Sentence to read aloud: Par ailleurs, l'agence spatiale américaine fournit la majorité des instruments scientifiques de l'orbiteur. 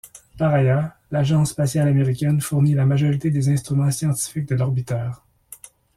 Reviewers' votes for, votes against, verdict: 2, 0, accepted